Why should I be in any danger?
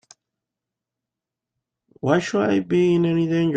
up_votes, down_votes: 0, 3